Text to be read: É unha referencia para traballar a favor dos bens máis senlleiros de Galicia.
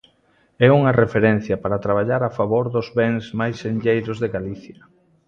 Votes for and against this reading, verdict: 2, 0, accepted